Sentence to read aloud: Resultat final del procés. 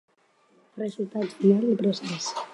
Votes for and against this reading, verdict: 2, 2, rejected